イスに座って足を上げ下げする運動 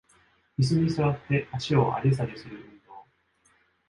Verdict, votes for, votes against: accepted, 2, 0